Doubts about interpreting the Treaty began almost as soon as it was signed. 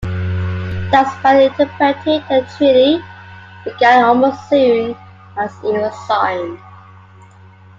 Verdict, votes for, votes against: rejected, 0, 2